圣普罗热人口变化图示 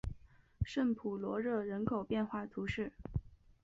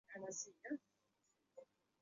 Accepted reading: first